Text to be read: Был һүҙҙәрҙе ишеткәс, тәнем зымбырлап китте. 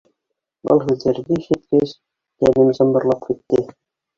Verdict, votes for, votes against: rejected, 1, 2